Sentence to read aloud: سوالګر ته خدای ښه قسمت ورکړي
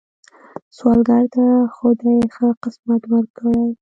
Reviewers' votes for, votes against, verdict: 0, 2, rejected